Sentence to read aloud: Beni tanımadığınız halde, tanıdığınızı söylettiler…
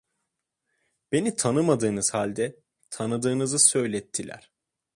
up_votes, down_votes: 2, 0